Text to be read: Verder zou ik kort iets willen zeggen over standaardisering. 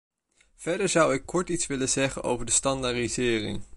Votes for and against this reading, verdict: 0, 2, rejected